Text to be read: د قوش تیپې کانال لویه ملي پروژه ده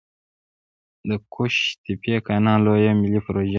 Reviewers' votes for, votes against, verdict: 2, 0, accepted